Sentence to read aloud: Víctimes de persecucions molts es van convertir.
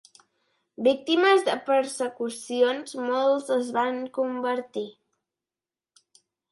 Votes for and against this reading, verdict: 2, 0, accepted